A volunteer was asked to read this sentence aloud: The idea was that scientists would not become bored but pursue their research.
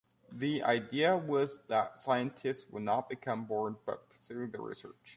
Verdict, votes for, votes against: accepted, 2, 1